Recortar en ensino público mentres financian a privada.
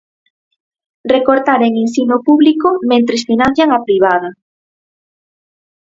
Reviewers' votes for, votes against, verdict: 4, 0, accepted